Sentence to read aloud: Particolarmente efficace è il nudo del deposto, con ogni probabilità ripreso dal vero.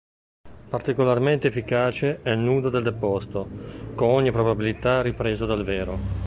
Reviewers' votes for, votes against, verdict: 1, 2, rejected